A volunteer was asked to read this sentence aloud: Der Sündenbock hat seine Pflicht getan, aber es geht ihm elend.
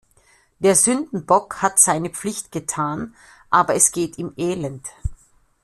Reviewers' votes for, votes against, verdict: 2, 0, accepted